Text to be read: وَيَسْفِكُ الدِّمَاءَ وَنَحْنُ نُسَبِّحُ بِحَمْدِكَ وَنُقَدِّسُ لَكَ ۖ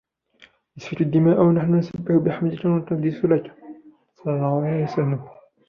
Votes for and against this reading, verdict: 0, 3, rejected